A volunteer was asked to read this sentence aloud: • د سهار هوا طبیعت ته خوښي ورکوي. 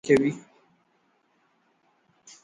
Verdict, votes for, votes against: rejected, 0, 2